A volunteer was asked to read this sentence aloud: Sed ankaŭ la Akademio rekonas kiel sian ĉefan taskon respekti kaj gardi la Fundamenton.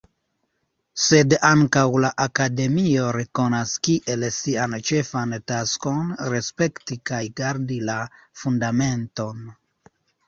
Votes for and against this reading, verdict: 0, 2, rejected